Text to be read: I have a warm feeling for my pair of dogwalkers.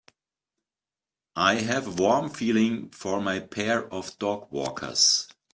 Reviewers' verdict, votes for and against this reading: rejected, 0, 2